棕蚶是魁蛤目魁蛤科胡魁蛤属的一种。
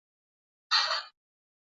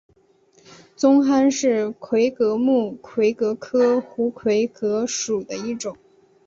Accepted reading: second